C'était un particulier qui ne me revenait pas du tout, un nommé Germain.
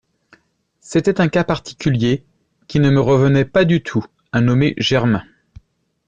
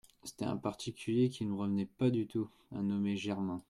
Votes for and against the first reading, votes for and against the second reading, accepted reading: 0, 2, 2, 0, second